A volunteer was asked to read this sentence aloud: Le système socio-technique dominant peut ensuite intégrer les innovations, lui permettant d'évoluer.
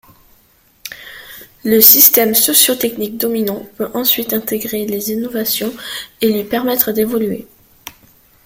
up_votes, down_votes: 0, 2